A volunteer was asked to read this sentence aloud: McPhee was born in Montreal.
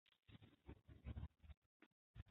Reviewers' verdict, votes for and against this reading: rejected, 0, 2